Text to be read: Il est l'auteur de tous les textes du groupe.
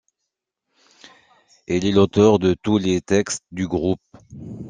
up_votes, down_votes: 2, 1